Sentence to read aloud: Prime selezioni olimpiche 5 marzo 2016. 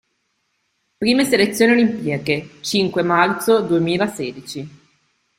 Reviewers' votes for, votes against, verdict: 0, 2, rejected